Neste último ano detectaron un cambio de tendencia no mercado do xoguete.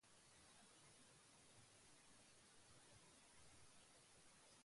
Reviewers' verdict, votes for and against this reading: rejected, 0, 2